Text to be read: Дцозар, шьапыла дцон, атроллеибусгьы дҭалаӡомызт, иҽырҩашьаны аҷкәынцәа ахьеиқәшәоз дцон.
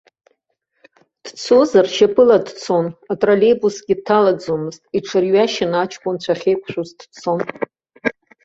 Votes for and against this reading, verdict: 1, 2, rejected